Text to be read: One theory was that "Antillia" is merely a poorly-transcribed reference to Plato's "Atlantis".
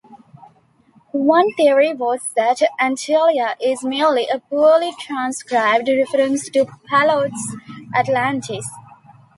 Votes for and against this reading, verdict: 2, 0, accepted